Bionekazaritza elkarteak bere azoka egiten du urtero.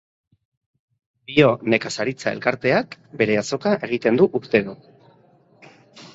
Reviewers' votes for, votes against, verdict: 2, 0, accepted